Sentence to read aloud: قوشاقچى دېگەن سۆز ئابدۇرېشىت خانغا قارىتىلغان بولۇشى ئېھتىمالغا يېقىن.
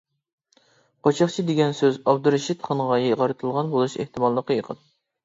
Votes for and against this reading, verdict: 0, 2, rejected